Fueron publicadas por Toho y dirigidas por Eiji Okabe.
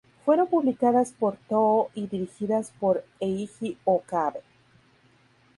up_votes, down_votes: 2, 0